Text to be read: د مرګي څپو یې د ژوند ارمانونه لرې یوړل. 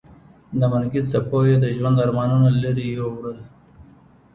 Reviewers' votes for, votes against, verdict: 2, 0, accepted